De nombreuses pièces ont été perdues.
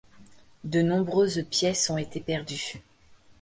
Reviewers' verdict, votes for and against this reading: accepted, 2, 0